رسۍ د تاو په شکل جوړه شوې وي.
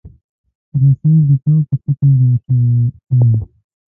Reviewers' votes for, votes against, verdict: 1, 2, rejected